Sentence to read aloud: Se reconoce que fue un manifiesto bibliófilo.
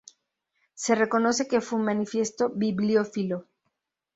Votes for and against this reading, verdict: 0, 2, rejected